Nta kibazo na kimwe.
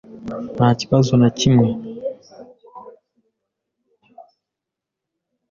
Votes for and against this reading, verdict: 2, 0, accepted